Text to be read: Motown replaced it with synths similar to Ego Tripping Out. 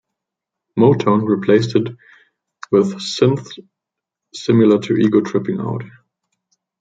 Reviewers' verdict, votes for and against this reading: accepted, 2, 0